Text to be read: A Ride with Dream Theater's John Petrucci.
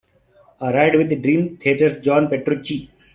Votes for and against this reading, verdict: 2, 1, accepted